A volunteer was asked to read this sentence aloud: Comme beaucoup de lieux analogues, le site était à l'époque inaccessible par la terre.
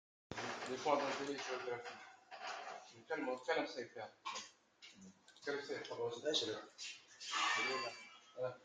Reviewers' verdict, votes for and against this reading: rejected, 0, 2